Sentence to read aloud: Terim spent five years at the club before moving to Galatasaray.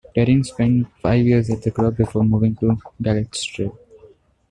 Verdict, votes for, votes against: rejected, 1, 2